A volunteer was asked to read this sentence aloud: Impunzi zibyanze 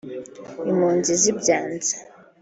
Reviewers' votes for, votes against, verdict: 2, 0, accepted